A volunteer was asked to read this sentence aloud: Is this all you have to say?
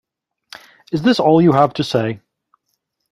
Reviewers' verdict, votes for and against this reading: accepted, 2, 0